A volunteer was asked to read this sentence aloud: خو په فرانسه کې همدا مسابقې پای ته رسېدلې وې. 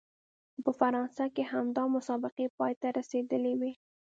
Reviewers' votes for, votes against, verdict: 2, 0, accepted